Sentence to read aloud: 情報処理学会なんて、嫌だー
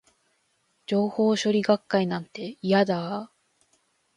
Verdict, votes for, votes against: rejected, 1, 2